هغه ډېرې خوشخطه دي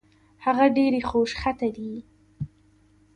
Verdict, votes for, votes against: accepted, 2, 0